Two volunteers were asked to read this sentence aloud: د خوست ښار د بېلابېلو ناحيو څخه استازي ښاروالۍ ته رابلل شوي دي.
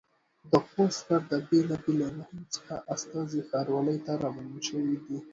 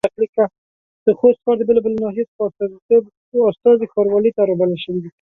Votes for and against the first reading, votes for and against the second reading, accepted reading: 2, 0, 1, 2, first